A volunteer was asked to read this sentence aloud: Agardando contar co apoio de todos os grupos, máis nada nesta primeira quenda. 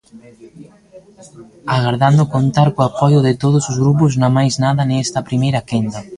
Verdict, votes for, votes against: rejected, 0, 2